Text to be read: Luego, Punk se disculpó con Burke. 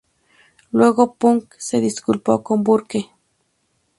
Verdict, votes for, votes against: accepted, 2, 0